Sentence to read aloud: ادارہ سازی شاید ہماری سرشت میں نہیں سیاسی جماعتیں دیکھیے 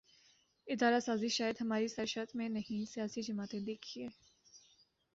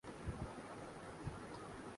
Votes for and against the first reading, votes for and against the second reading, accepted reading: 2, 0, 0, 2, first